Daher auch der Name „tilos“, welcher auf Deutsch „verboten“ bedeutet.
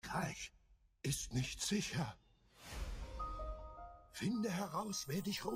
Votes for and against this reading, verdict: 0, 2, rejected